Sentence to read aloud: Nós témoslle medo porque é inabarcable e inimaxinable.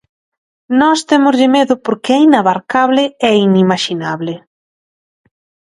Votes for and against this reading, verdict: 2, 0, accepted